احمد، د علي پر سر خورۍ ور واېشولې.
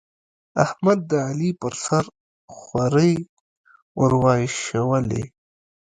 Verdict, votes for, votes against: rejected, 1, 2